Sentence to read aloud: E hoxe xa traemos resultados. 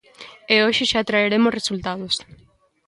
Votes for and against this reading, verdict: 0, 2, rejected